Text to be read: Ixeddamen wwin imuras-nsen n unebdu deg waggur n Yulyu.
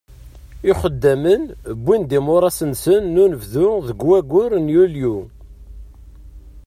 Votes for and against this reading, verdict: 2, 1, accepted